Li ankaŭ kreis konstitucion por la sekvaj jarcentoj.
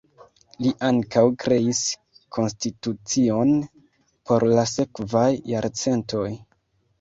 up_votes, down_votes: 2, 1